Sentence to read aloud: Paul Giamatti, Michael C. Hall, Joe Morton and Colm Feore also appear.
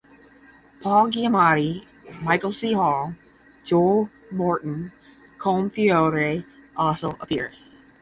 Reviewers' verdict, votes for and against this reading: rejected, 5, 10